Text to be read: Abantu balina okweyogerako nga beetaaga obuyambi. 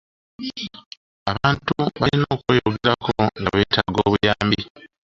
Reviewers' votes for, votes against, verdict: 0, 2, rejected